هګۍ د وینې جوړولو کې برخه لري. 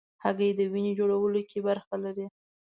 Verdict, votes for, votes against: accepted, 2, 0